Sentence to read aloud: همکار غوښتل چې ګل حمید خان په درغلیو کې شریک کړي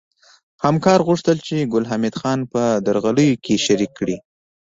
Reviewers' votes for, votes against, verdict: 2, 0, accepted